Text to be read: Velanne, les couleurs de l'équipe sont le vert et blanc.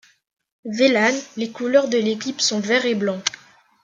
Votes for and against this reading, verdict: 1, 2, rejected